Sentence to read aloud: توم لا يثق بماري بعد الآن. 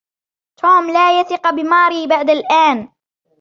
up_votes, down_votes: 2, 0